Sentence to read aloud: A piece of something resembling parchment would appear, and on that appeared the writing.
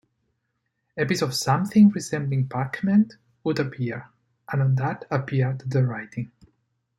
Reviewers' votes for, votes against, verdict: 3, 4, rejected